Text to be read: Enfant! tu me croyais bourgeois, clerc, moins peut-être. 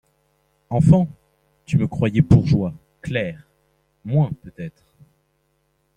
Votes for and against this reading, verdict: 0, 2, rejected